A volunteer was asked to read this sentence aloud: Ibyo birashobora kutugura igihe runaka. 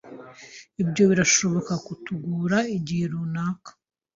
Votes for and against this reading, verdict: 1, 2, rejected